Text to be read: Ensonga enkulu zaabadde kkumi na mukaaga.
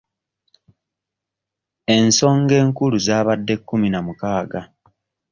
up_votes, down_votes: 0, 2